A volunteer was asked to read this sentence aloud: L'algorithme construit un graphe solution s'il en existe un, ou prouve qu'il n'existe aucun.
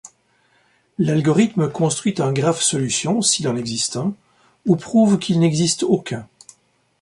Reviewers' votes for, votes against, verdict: 2, 0, accepted